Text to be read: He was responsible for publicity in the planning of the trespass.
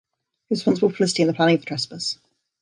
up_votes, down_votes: 0, 2